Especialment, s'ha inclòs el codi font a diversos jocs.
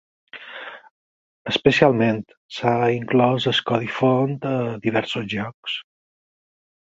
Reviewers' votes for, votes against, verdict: 4, 0, accepted